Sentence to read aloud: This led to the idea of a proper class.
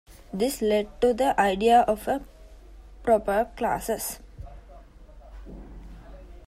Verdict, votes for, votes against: accepted, 2, 1